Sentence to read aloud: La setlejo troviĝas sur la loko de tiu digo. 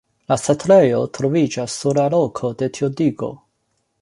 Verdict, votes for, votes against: rejected, 1, 2